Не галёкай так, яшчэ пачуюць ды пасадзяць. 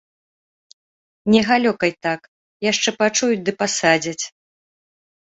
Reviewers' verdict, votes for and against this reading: accepted, 2, 0